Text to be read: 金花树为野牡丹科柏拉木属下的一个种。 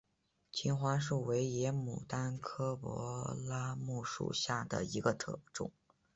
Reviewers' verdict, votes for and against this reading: accepted, 4, 1